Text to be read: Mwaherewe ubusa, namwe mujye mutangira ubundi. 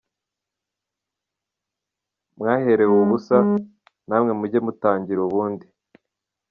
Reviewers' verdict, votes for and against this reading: accepted, 2, 1